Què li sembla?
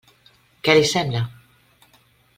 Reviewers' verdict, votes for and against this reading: accepted, 3, 0